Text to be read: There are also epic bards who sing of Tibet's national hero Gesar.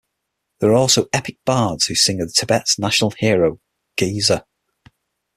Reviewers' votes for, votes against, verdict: 6, 3, accepted